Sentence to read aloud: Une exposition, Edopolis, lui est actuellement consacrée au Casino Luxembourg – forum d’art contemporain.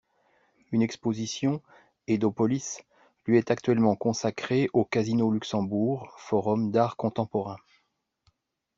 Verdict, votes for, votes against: accepted, 2, 0